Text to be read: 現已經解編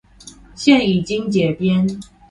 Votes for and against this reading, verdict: 2, 0, accepted